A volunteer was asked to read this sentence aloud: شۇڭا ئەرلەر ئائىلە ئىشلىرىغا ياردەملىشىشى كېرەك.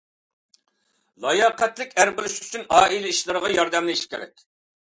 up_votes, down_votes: 0, 2